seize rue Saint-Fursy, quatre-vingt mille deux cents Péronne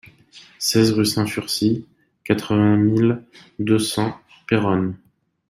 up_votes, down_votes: 1, 2